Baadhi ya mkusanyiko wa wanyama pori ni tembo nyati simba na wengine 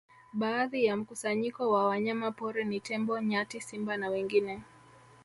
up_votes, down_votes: 3, 2